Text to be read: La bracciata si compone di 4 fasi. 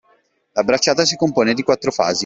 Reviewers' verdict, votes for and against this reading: rejected, 0, 2